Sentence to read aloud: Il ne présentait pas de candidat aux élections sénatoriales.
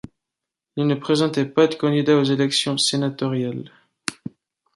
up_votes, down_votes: 2, 0